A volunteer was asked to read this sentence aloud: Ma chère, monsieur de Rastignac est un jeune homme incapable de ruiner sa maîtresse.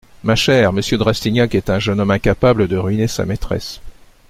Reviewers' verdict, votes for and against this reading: accepted, 2, 0